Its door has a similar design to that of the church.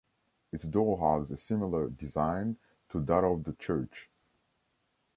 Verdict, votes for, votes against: rejected, 0, 2